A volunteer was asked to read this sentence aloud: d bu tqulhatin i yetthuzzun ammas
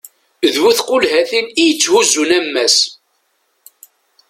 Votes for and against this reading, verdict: 2, 0, accepted